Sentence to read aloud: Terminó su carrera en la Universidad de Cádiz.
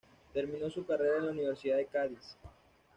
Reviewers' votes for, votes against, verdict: 2, 0, accepted